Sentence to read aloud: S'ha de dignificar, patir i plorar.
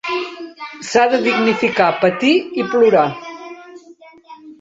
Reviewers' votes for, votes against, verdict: 4, 2, accepted